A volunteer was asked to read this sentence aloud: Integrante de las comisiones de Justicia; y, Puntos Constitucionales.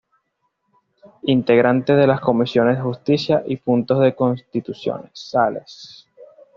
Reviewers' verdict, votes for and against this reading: rejected, 1, 2